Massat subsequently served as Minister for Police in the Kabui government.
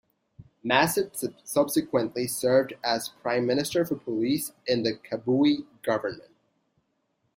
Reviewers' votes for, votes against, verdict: 0, 2, rejected